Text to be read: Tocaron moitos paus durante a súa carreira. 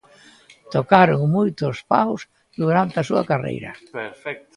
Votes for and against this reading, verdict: 0, 2, rejected